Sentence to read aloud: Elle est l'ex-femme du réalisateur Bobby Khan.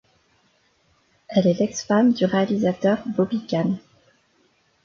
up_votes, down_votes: 2, 0